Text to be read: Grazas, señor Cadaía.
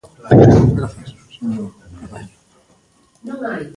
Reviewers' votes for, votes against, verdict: 0, 2, rejected